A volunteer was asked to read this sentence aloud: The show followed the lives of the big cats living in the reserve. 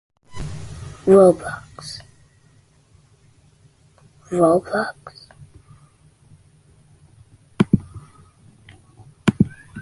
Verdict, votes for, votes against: rejected, 0, 2